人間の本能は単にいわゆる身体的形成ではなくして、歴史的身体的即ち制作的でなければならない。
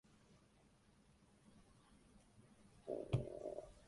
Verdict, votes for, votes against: rejected, 0, 2